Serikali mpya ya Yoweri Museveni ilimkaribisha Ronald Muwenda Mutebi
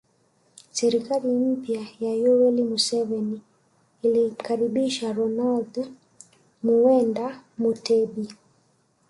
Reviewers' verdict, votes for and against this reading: rejected, 2, 3